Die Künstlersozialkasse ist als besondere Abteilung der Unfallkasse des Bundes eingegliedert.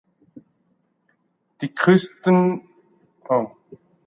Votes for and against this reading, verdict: 0, 2, rejected